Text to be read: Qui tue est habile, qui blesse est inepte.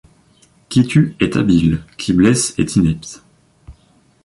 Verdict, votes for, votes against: accepted, 2, 0